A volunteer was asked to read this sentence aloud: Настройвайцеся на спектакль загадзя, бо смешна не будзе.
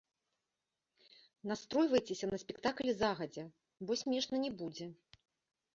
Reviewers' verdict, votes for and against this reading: accepted, 2, 0